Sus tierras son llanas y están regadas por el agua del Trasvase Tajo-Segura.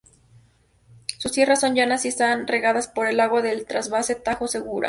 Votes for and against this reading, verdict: 0, 2, rejected